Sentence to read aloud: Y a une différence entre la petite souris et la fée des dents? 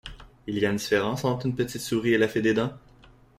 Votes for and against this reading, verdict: 1, 2, rejected